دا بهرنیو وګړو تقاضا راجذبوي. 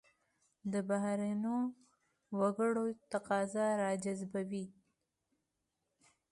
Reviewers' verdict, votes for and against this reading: accepted, 2, 0